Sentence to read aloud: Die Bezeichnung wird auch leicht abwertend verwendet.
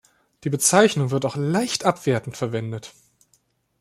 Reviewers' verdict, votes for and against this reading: accepted, 2, 0